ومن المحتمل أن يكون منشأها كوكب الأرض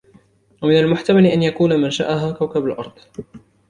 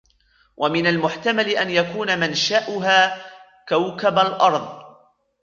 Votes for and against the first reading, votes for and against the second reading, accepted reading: 2, 1, 1, 2, first